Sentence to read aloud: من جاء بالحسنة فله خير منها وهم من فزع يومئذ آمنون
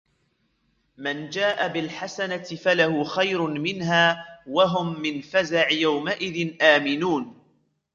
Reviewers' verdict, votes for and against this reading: accepted, 2, 1